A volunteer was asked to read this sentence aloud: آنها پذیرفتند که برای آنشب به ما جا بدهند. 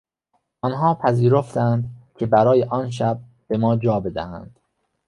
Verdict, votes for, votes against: accepted, 2, 0